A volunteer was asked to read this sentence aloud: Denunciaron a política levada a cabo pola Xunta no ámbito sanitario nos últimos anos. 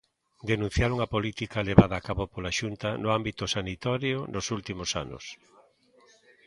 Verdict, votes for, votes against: rejected, 1, 2